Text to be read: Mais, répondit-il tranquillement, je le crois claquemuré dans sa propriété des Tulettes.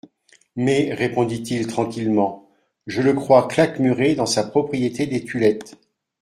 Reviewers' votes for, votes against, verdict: 2, 0, accepted